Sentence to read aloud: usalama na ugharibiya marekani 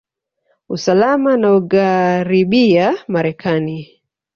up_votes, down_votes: 2, 1